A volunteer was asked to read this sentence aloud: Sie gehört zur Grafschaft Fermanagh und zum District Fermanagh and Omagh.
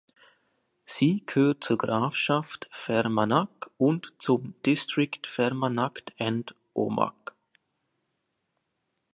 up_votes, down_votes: 2, 0